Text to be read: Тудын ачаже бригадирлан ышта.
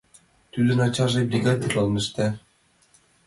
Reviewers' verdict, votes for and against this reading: accepted, 2, 1